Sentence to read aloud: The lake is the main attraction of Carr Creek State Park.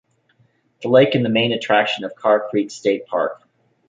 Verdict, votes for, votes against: rejected, 1, 2